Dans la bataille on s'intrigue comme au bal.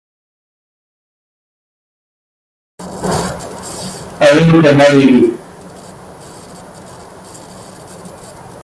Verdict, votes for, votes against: rejected, 0, 2